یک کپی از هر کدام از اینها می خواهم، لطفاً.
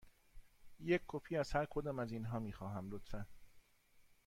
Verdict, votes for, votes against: accepted, 2, 0